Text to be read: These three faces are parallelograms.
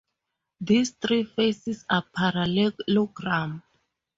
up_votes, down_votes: 2, 2